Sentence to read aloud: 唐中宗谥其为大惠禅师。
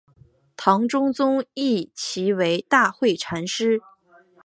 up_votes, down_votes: 3, 1